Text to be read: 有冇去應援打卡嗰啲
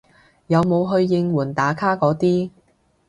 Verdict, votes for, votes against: accepted, 2, 0